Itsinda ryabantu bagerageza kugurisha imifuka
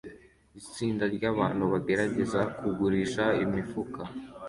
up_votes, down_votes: 2, 0